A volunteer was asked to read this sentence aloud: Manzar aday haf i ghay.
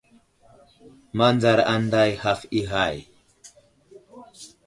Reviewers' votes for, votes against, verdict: 2, 0, accepted